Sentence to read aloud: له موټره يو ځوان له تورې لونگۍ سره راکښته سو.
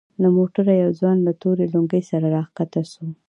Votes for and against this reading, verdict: 2, 0, accepted